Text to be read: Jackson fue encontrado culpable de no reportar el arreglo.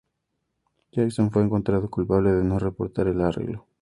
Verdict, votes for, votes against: accepted, 2, 0